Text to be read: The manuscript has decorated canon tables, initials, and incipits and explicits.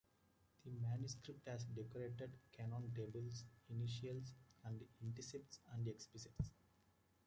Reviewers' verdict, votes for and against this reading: rejected, 1, 2